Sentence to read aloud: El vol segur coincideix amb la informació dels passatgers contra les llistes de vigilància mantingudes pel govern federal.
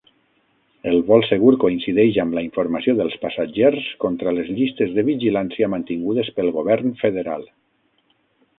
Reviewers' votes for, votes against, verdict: 3, 6, rejected